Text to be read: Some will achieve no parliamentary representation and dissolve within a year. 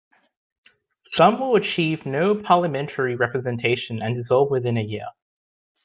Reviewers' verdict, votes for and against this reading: accepted, 2, 0